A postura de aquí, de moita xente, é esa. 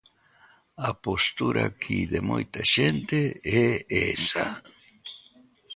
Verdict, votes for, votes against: rejected, 0, 2